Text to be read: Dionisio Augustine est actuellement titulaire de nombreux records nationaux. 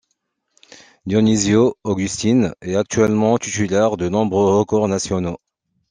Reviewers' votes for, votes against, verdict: 2, 1, accepted